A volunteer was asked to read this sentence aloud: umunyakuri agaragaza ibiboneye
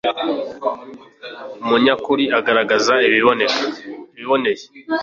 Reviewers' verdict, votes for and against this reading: rejected, 1, 2